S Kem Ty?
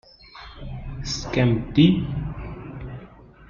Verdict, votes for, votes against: rejected, 0, 2